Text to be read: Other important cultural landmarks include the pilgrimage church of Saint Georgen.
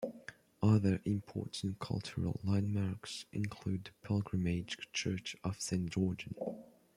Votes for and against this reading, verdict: 0, 2, rejected